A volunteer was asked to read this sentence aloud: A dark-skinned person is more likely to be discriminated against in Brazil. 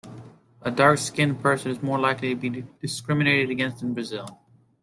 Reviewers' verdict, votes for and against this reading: accepted, 2, 0